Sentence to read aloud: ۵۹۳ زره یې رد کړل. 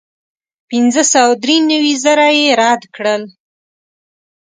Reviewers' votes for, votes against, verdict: 0, 2, rejected